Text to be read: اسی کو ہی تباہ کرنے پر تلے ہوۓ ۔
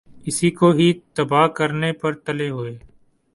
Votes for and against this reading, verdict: 2, 0, accepted